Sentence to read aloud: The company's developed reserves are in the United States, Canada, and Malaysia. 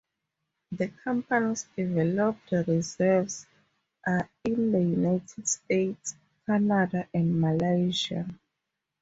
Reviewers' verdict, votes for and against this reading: rejected, 2, 2